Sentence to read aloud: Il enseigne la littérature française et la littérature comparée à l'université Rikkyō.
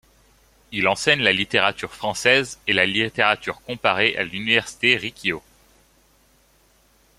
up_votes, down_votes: 2, 0